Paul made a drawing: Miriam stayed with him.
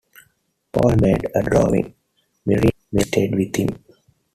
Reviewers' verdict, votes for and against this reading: rejected, 0, 2